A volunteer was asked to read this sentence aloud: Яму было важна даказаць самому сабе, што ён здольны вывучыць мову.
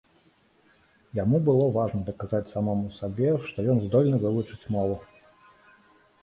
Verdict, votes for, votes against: accepted, 2, 0